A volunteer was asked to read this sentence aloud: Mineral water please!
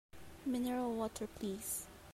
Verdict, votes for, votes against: accepted, 3, 1